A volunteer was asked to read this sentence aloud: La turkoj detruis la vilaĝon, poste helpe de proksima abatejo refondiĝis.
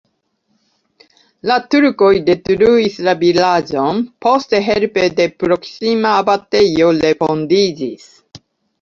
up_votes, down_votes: 2, 0